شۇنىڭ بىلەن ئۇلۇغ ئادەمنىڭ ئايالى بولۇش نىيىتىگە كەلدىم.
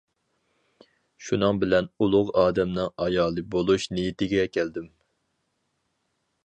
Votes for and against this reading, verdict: 4, 0, accepted